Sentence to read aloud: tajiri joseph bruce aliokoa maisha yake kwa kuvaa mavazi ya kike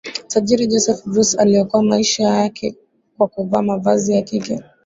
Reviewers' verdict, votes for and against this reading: rejected, 0, 2